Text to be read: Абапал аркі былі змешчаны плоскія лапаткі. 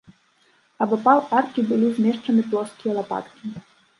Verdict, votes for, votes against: rejected, 1, 2